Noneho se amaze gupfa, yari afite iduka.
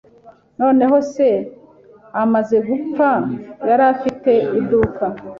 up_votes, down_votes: 2, 0